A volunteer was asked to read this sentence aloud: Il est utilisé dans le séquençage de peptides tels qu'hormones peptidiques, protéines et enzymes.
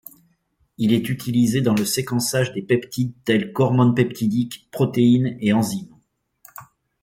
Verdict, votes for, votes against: rejected, 0, 2